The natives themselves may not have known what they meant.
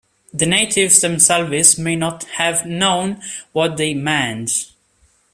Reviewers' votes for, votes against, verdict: 0, 2, rejected